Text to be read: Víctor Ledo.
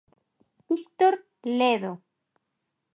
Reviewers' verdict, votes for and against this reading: accepted, 3, 0